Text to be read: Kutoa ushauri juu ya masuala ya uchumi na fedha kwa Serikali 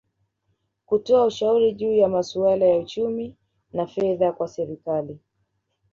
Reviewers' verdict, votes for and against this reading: accepted, 2, 1